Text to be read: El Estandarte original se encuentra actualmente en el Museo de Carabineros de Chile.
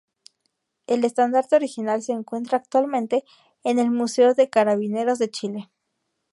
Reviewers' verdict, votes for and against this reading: accepted, 2, 0